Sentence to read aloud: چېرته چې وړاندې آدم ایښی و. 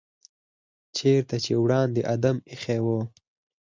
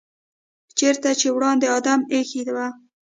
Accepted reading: first